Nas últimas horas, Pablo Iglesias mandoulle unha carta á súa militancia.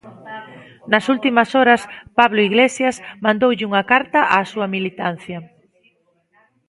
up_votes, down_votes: 2, 0